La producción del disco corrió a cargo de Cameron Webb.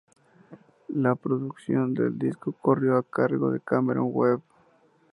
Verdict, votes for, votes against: accepted, 2, 0